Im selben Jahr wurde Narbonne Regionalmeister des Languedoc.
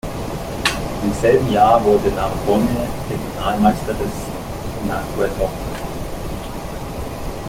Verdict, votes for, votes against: rejected, 0, 2